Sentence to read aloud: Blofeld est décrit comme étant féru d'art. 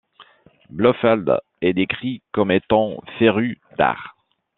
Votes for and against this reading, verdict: 2, 0, accepted